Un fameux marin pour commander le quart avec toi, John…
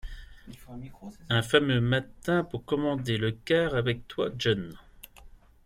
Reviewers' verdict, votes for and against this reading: rejected, 1, 2